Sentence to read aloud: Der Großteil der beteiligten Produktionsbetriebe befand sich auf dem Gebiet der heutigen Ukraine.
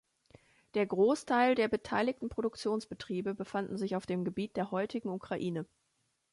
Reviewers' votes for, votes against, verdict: 1, 3, rejected